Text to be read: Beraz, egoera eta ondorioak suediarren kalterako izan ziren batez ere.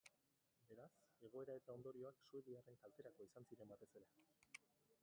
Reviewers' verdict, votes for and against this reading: rejected, 0, 3